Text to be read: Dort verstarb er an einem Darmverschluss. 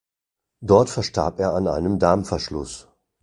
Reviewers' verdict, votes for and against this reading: accepted, 2, 0